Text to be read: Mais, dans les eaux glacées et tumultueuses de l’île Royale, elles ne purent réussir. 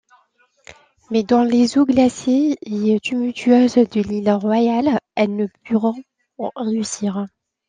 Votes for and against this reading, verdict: 2, 1, accepted